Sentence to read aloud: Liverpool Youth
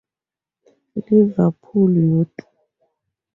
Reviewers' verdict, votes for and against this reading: rejected, 0, 2